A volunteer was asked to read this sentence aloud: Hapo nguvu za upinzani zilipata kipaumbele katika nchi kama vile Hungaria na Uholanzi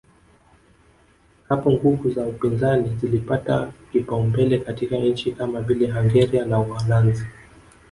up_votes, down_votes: 3, 0